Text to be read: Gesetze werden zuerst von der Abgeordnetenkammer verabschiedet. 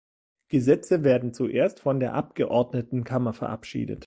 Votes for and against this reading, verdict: 2, 0, accepted